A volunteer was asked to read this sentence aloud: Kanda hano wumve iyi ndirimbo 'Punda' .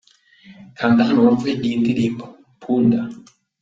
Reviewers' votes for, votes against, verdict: 2, 0, accepted